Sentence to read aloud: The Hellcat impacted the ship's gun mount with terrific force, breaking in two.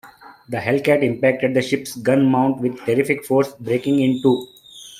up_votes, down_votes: 2, 1